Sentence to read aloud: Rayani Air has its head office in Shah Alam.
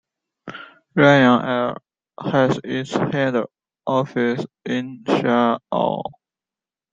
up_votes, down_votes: 0, 2